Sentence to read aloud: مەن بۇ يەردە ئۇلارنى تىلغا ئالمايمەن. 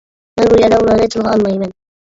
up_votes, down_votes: 0, 2